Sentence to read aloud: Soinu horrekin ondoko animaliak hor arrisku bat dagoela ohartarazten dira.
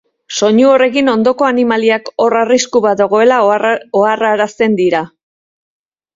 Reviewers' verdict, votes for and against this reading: rejected, 0, 2